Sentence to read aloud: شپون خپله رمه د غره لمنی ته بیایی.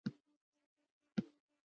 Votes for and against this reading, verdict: 0, 2, rejected